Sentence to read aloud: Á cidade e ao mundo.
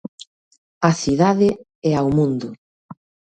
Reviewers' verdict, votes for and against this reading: accepted, 2, 1